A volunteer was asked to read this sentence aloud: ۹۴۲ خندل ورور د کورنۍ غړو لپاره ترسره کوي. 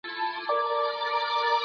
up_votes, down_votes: 0, 2